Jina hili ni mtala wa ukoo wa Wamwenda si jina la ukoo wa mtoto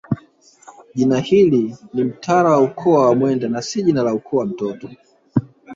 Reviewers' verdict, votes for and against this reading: accepted, 3, 1